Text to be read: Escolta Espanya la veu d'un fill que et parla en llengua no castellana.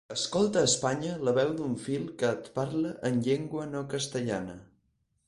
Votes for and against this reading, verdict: 0, 4, rejected